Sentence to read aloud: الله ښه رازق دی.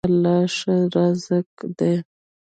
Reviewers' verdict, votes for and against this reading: rejected, 1, 2